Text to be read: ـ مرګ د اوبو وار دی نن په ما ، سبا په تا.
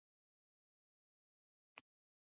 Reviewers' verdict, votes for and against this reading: rejected, 0, 2